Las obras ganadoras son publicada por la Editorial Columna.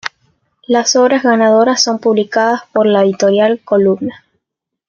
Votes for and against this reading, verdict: 2, 1, accepted